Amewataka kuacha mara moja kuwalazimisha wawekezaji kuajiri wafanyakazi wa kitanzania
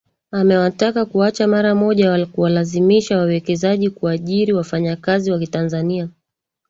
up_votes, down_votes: 3, 1